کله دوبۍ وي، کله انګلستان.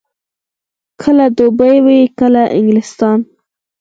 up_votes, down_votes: 4, 0